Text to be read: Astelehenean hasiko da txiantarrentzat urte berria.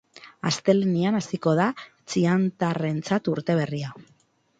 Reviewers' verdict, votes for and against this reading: accepted, 6, 0